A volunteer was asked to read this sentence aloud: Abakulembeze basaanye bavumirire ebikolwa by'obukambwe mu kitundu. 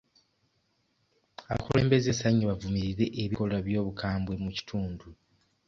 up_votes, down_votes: 1, 2